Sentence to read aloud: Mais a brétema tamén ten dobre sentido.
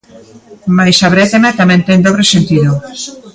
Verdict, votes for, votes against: rejected, 1, 2